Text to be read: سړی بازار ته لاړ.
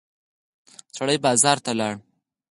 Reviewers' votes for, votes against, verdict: 0, 4, rejected